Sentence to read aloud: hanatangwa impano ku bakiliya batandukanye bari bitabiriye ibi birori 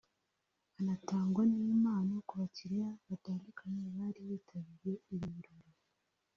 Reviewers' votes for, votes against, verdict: 1, 2, rejected